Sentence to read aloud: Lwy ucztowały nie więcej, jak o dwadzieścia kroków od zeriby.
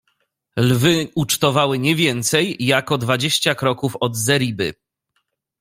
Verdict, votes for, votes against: accepted, 2, 0